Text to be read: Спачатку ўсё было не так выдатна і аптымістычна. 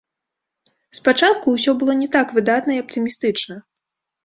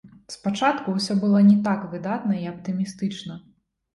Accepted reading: second